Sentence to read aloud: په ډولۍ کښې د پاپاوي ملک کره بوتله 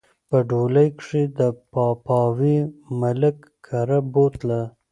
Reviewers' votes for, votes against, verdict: 2, 0, accepted